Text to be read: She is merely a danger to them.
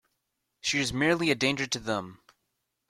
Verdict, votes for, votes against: accepted, 2, 0